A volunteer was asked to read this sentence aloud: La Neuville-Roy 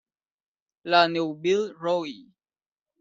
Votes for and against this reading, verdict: 1, 2, rejected